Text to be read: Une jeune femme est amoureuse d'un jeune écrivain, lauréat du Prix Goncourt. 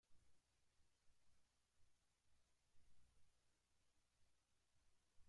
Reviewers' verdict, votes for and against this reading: rejected, 0, 2